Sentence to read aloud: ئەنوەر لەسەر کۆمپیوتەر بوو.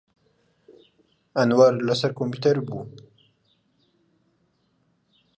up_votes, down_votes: 2, 0